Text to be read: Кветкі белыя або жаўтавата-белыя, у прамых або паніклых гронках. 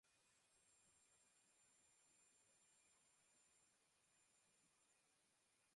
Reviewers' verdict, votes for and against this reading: rejected, 0, 2